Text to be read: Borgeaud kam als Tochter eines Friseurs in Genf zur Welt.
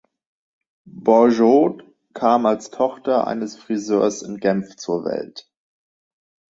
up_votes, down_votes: 2, 0